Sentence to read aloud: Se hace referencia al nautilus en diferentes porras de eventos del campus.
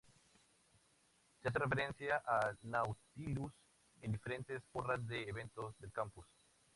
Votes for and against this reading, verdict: 0, 2, rejected